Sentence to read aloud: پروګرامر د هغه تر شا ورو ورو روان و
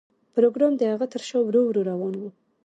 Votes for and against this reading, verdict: 2, 0, accepted